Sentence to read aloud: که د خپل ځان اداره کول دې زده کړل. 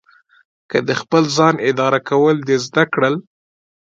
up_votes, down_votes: 2, 0